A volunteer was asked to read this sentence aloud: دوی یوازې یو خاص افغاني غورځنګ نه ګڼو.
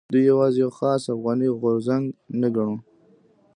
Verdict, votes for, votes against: accepted, 2, 0